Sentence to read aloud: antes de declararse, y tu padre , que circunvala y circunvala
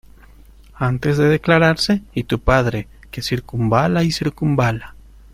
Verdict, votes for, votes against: accepted, 2, 0